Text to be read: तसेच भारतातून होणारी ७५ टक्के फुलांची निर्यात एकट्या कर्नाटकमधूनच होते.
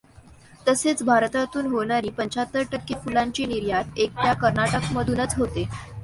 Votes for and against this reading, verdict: 0, 2, rejected